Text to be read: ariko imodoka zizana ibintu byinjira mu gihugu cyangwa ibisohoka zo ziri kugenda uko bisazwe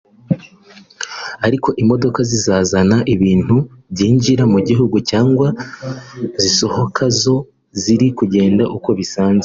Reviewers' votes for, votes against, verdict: 1, 2, rejected